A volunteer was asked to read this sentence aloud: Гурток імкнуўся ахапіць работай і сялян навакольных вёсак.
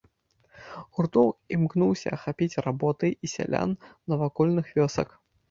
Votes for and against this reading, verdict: 0, 2, rejected